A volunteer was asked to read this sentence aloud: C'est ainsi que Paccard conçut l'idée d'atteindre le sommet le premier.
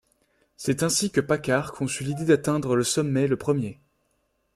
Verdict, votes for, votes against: accepted, 2, 0